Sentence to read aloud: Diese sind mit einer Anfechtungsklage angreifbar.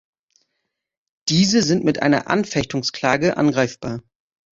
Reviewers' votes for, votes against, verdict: 2, 0, accepted